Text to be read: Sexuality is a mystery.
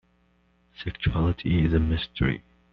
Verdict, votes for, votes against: accepted, 2, 1